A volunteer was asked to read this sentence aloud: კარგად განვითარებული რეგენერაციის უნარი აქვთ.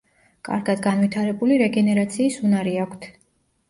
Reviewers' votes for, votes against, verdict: 2, 0, accepted